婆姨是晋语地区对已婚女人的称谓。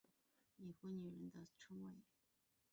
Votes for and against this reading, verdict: 0, 2, rejected